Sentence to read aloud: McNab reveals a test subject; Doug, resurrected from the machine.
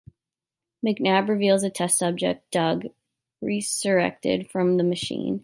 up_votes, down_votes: 1, 2